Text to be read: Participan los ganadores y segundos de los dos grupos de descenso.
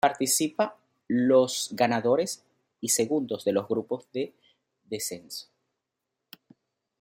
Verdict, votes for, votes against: rejected, 0, 2